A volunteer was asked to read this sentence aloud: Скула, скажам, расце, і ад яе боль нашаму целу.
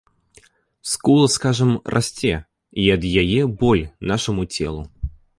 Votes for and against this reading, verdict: 2, 0, accepted